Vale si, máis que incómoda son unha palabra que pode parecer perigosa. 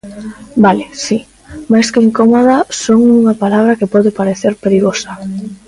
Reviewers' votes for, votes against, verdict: 2, 0, accepted